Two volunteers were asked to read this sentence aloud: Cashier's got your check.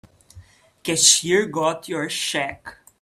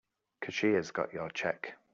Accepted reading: second